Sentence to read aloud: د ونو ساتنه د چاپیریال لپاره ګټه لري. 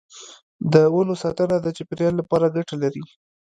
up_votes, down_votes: 1, 2